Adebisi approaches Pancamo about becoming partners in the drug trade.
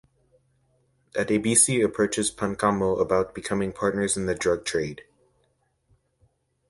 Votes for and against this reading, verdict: 2, 0, accepted